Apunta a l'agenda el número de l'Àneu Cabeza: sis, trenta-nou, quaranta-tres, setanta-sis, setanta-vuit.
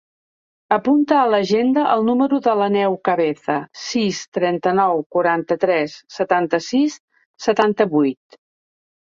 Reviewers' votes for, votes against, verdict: 2, 1, accepted